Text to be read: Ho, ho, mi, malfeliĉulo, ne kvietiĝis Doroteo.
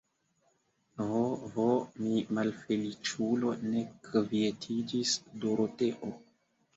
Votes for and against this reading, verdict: 2, 1, accepted